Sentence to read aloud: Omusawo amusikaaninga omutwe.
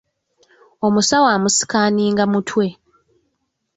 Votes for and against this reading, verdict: 1, 2, rejected